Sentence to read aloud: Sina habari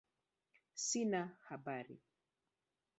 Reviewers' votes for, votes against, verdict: 0, 2, rejected